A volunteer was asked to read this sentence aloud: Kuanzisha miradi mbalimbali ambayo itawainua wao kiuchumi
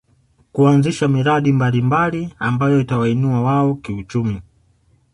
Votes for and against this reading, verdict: 2, 0, accepted